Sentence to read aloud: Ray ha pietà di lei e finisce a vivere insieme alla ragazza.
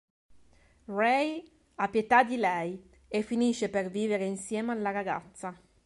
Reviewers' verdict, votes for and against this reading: accepted, 3, 0